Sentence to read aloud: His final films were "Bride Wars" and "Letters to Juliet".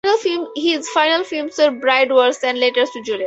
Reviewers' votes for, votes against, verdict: 4, 0, accepted